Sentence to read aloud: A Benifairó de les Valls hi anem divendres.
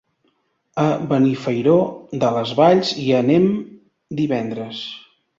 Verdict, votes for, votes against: accepted, 4, 0